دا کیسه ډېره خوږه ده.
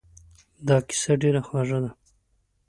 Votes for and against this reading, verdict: 2, 0, accepted